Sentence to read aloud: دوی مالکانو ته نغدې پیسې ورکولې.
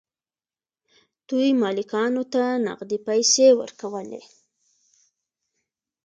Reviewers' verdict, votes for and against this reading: accepted, 2, 0